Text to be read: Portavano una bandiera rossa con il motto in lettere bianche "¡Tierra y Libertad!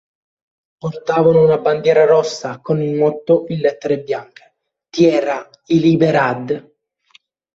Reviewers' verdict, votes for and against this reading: rejected, 0, 2